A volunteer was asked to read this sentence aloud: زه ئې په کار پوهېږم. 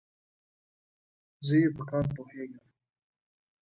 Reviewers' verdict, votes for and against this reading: accepted, 2, 1